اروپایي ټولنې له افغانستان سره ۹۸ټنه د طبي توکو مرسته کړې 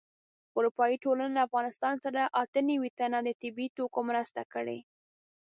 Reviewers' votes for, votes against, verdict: 0, 2, rejected